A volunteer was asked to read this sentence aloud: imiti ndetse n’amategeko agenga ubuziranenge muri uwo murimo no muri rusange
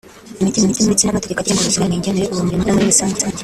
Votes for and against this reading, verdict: 0, 2, rejected